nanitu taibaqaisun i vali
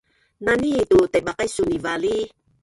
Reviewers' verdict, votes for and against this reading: rejected, 1, 4